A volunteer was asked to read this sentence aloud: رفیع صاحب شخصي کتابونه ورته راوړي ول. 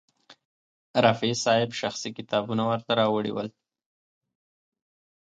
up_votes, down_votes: 2, 0